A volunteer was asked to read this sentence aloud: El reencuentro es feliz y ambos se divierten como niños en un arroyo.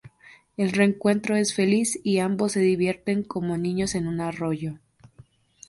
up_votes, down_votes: 2, 0